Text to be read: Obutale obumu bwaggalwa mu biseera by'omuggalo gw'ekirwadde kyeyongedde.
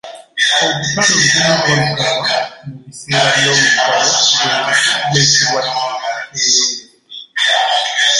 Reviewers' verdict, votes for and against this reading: rejected, 0, 2